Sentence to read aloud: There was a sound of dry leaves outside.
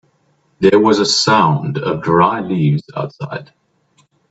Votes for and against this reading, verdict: 2, 1, accepted